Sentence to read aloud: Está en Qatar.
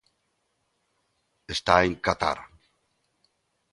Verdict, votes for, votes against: accepted, 2, 0